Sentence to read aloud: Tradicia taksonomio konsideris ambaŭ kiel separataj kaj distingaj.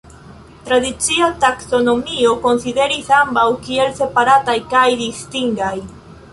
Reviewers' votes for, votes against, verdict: 2, 0, accepted